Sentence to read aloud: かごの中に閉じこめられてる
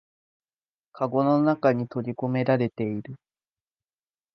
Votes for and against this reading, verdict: 1, 2, rejected